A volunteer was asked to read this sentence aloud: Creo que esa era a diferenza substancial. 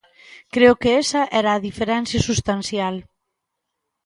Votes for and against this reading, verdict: 1, 2, rejected